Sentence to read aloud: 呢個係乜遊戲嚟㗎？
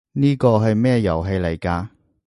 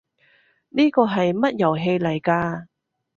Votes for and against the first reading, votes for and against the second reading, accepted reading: 1, 2, 2, 0, second